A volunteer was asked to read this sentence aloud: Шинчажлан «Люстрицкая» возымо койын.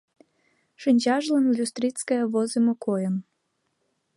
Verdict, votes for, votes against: accepted, 2, 0